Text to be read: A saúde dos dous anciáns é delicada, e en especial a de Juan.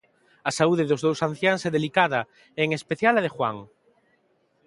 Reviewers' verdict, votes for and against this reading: accepted, 2, 0